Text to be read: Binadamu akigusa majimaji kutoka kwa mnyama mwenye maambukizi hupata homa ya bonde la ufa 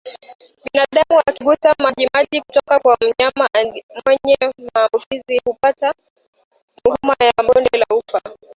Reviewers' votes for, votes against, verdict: 1, 2, rejected